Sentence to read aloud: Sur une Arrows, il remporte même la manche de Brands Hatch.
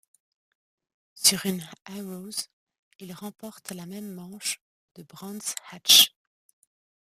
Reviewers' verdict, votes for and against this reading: rejected, 0, 2